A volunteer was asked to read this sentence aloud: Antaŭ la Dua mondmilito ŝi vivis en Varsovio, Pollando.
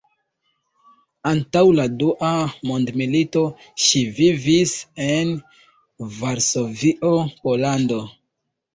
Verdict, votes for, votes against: rejected, 1, 2